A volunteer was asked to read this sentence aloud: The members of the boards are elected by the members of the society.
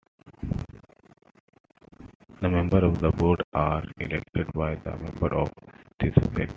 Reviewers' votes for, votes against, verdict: 1, 2, rejected